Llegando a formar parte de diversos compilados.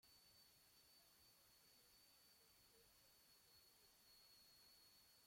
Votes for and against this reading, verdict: 0, 2, rejected